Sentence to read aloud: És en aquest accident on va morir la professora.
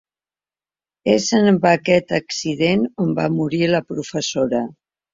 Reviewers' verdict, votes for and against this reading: rejected, 1, 3